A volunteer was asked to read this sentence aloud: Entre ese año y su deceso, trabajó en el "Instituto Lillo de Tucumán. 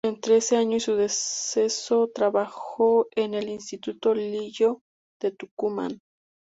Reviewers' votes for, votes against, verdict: 0, 2, rejected